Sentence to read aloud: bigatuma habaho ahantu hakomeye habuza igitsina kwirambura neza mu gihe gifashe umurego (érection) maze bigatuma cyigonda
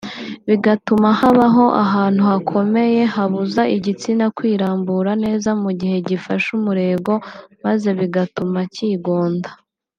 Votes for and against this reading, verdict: 1, 2, rejected